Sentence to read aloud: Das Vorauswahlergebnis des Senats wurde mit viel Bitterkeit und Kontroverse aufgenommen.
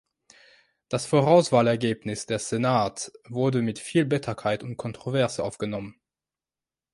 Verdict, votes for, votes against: rejected, 1, 2